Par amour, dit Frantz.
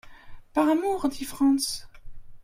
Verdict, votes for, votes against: rejected, 1, 2